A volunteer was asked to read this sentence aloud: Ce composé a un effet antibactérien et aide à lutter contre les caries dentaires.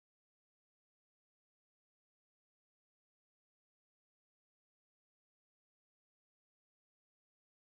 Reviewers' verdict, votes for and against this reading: rejected, 0, 2